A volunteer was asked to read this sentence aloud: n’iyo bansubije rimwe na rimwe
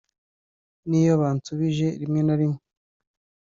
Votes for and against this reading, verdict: 2, 0, accepted